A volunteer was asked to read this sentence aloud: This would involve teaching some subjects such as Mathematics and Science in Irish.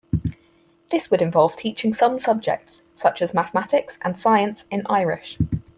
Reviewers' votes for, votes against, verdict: 4, 0, accepted